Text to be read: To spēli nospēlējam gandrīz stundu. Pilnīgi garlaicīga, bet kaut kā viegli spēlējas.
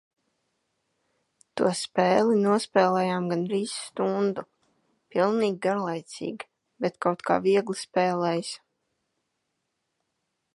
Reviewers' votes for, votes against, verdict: 2, 0, accepted